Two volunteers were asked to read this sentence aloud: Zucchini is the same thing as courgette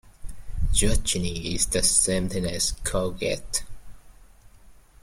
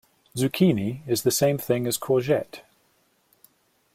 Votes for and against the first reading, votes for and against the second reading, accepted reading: 0, 2, 2, 0, second